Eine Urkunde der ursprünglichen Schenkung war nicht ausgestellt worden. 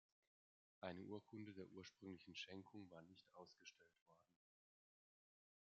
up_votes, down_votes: 1, 2